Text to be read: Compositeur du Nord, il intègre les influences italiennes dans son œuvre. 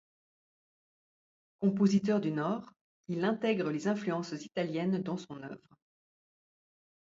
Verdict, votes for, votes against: accepted, 2, 0